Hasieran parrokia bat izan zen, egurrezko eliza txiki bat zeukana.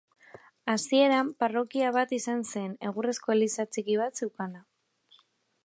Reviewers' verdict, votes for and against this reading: accepted, 2, 0